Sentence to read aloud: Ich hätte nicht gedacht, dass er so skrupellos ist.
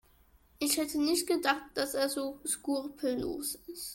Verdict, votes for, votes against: rejected, 1, 2